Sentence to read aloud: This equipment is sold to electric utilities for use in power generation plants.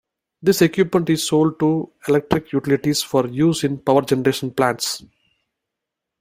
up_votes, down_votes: 2, 0